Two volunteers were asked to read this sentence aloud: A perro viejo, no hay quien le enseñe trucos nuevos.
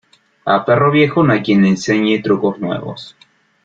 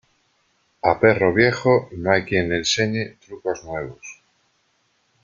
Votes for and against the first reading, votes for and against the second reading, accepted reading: 2, 0, 0, 2, first